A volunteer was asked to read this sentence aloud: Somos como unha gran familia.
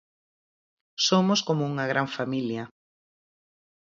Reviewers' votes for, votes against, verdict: 4, 0, accepted